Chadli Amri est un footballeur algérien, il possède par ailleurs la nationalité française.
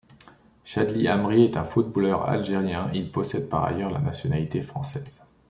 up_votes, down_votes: 2, 0